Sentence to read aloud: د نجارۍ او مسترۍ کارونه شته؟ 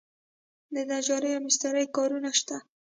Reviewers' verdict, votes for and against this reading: accepted, 2, 0